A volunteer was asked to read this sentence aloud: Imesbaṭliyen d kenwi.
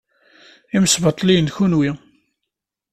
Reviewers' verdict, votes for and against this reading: accepted, 2, 0